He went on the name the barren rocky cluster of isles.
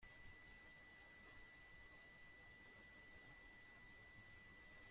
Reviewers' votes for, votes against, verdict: 0, 2, rejected